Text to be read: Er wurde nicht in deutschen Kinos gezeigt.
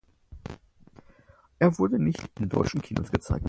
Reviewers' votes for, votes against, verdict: 4, 0, accepted